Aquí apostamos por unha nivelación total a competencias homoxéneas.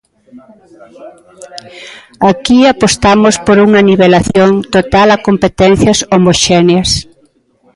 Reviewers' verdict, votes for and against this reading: accepted, 2, 1